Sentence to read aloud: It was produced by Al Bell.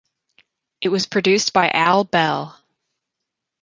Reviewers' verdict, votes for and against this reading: rejected, 0, 2